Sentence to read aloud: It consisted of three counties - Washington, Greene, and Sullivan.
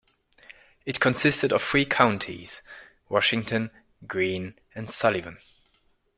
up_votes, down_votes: 2, 0